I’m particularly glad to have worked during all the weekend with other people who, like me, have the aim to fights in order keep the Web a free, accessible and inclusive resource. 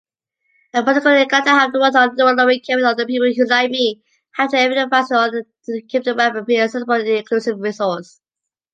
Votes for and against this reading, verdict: 0, 2, rejected